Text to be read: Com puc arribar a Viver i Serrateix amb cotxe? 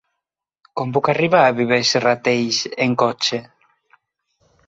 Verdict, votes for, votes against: rejected, 0, 4